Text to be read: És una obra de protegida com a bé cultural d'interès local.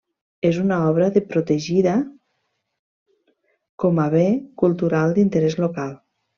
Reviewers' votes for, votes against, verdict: 1, 2, rejected